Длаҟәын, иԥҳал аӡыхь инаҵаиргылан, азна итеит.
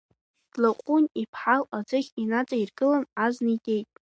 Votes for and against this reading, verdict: 2, 1, accepted